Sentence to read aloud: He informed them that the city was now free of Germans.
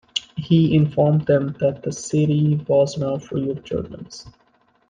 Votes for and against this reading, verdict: 2, 0, accepted